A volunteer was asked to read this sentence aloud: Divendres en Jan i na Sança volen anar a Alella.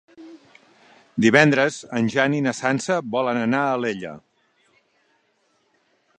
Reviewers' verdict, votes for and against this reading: accepted, 3, 0